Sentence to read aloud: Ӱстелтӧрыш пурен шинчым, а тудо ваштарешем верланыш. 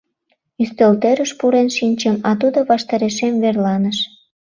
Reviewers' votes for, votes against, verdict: 2, 0, accepted